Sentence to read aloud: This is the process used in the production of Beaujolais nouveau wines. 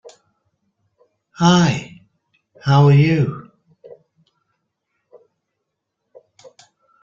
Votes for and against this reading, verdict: 0, 2, rejected